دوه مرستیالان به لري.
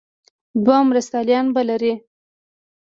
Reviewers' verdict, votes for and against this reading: accepted, 3, 0